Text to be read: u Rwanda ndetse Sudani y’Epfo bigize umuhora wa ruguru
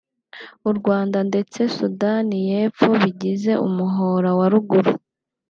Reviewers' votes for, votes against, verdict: 2, 0, accepted